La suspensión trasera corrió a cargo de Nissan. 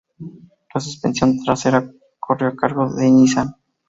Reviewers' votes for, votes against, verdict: 2, 0, accepted